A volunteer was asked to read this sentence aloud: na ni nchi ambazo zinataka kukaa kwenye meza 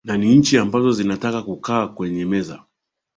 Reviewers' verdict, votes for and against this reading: accepted, 3, 1